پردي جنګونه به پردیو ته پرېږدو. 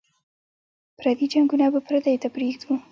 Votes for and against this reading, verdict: 2, 0, accepted